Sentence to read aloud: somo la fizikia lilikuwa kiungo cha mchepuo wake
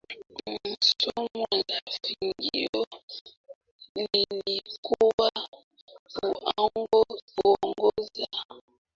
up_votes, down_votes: 0, 2